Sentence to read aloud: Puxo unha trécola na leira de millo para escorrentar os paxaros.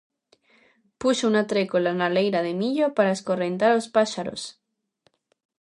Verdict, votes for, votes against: rejected, 0, 2